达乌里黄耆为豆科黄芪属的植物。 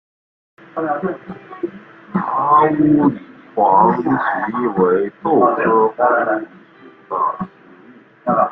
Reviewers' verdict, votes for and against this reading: rejected, 0, 2